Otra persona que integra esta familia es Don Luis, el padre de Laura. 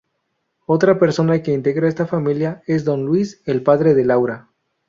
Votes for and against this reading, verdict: 2, 0, accepted